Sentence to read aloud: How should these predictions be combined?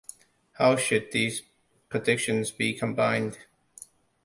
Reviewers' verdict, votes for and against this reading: rejected, 0, 2